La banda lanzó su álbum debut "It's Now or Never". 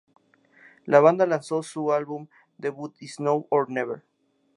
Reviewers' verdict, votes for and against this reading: accepted, 4, 0